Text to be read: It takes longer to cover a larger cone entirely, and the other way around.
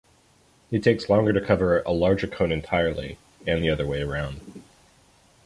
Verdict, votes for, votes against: accepted, 2, 0